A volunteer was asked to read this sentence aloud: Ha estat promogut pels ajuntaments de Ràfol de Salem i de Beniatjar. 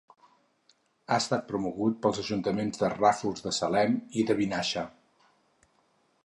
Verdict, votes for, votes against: rejected, 2, 4